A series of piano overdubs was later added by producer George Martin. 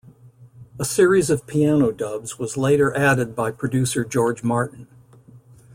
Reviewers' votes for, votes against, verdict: 0, 2, rejected